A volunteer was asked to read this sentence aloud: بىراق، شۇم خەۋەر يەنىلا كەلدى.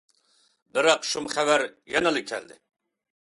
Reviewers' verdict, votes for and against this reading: accepted, 2, 0